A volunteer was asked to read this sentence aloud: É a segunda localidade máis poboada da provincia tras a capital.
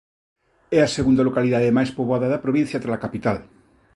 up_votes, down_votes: 0, 2